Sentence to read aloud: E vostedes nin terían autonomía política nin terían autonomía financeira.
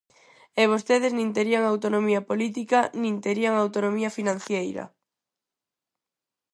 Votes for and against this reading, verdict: 2, 4, rejected